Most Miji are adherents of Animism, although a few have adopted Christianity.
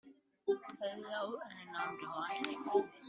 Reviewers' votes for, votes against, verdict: 1, 2, rejected